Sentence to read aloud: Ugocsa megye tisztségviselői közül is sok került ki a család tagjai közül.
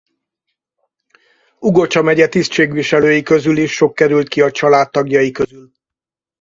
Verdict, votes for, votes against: rejected, 2, 4